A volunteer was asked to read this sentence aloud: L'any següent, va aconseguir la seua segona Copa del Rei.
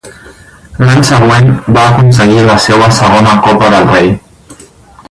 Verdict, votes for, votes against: rejected, 2, 4